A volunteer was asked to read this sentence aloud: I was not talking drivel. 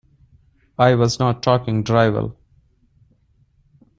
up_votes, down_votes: 0, 2